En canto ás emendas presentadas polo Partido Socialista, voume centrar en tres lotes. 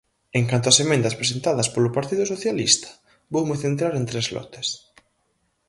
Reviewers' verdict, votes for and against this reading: accepted, 4, 0